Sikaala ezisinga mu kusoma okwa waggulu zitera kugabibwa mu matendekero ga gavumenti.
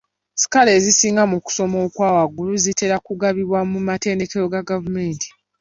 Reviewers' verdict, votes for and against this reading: accepted, 2, 0